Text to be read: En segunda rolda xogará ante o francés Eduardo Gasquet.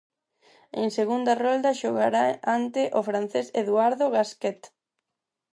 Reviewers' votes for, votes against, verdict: 4, 0, accepted